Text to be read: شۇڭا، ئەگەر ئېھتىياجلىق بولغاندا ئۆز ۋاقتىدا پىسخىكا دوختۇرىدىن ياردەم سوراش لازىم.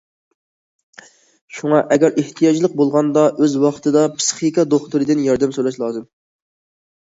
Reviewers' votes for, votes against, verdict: 2, 0, accepted